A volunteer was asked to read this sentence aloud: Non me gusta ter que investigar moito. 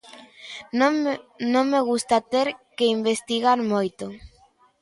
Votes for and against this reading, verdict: 0, 2, rejected